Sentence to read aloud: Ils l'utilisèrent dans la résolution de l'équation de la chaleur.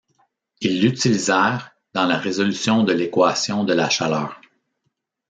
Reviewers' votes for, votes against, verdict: 0, 2, rejected